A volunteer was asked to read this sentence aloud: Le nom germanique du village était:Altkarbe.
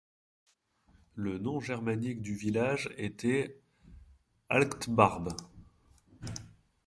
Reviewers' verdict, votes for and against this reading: rejected, 1, 2